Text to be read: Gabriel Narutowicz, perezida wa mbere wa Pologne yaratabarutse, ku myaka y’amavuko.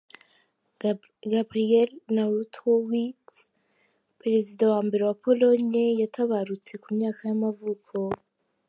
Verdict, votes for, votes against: rejected, 0, 2